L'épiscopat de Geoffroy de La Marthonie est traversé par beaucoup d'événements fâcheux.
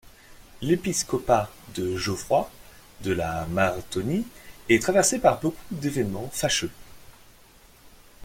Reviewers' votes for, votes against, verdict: 2, 0, accepted